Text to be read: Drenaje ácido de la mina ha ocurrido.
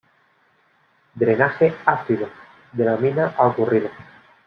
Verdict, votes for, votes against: accepted, 2, 0